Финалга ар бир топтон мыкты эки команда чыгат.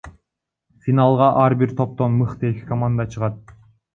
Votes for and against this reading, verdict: 1, 2, rejected